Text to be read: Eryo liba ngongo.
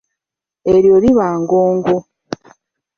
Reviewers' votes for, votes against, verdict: 0, 2, rejected